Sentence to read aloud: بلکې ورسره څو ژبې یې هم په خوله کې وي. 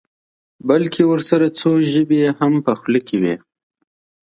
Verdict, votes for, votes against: accepted, 2, 0